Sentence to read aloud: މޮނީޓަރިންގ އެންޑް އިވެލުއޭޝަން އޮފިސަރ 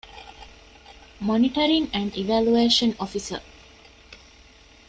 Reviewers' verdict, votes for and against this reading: rejected, 1, 2